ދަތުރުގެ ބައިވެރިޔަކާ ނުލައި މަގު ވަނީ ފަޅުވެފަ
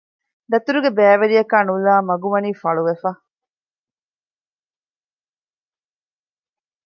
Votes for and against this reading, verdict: 2, 0, accepted